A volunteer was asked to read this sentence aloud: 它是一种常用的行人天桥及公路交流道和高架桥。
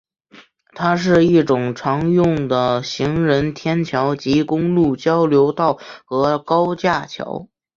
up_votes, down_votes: 2, 1